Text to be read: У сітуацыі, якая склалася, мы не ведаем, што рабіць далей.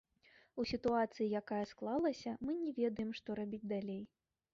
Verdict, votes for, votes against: accepted, 2, 0